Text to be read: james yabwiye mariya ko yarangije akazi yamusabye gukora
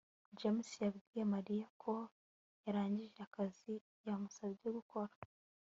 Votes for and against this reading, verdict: 2, 0, accepted